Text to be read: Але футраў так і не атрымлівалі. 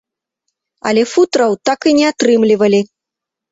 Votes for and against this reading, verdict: 2, 0, accepted